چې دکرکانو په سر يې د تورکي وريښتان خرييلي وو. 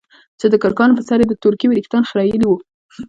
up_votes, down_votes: 2, 0